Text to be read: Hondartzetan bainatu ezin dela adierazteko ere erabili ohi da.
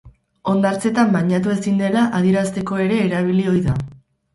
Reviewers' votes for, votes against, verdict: 8, 0, accepted